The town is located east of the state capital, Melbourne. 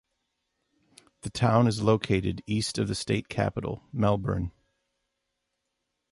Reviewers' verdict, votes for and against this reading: accepted, 2, 0